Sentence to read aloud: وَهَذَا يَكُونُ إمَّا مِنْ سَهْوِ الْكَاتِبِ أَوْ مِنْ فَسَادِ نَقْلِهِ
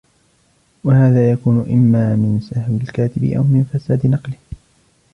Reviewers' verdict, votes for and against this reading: rejected, 1, 2